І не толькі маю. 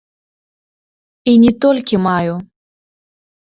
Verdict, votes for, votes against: rejected, 0, 2